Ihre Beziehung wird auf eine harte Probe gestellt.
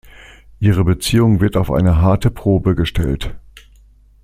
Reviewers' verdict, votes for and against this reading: accepted, 2, 0